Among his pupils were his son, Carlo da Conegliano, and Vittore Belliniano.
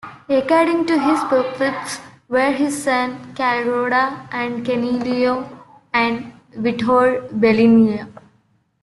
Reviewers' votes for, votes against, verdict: 0, 2, rejected